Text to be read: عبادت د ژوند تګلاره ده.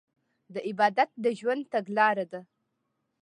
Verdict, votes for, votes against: rejected, 1, 2